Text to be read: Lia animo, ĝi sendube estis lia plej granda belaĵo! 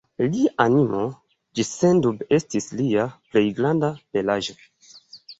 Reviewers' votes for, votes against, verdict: 2, 3, rejected